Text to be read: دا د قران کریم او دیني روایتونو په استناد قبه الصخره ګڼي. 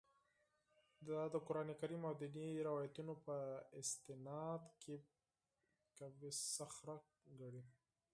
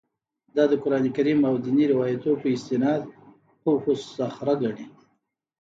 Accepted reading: second